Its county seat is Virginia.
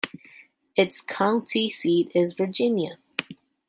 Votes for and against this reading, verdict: 2, 0, accepted